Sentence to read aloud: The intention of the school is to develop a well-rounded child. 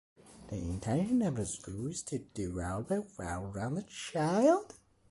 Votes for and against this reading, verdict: 0, 3, rejected